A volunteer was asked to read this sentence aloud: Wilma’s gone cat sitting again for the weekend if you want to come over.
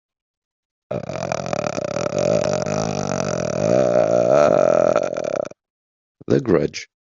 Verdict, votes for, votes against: rejected, 0, 3